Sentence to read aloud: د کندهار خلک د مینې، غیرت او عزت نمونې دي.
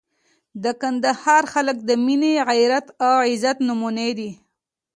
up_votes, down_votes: 0, 2